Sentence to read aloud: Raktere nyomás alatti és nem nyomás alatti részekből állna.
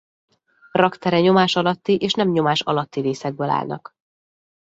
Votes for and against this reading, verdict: 0, 2, rejected